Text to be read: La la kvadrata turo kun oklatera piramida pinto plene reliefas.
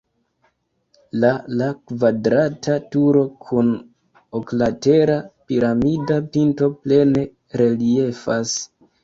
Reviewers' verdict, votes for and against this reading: rejected, 1, 2